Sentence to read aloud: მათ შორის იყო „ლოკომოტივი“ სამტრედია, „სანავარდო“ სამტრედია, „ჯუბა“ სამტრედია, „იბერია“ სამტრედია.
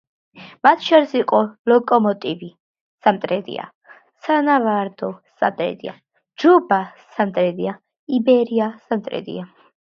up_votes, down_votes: 2, 1